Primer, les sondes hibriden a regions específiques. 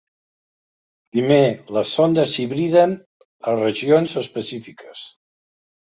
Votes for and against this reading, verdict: 0, 2, rejected